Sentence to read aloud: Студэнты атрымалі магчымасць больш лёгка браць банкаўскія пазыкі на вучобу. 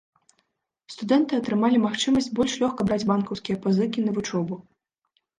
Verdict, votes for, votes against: accepted, 2, 0